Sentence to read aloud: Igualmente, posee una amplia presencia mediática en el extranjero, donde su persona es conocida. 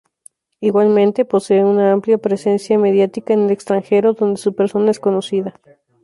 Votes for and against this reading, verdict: 2, 0, accepted